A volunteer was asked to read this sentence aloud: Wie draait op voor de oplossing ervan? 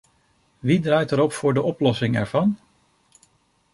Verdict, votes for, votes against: rejected, 0, 2